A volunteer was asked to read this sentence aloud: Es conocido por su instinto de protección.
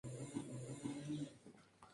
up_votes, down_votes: 0, 2